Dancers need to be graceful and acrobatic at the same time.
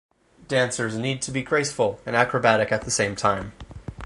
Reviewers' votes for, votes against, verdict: 6, 0, accepted